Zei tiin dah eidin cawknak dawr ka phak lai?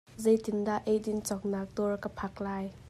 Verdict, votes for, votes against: accepted, 2, 0